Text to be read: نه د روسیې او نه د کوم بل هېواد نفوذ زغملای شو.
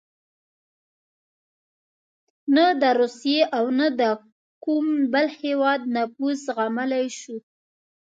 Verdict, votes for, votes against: accepted, 2, 0